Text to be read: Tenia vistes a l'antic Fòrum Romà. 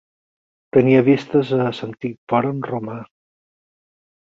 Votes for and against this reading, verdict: 0, 4, rejected